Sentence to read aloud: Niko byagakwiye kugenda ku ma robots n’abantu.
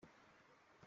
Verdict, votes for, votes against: rejected, 0, 2